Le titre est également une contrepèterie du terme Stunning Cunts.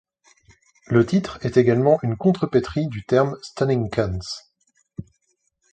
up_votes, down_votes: 1, 2